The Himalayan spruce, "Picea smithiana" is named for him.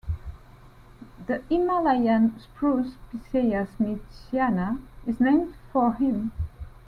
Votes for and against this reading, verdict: 0, 2, rejected